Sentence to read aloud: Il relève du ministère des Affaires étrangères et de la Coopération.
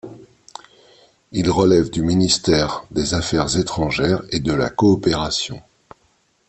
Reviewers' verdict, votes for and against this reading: accepted, 2, 0